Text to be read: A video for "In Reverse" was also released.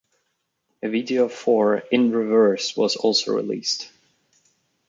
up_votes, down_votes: 2, 0